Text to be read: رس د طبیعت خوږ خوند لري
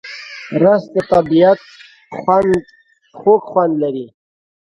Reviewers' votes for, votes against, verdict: 1, 2, rejected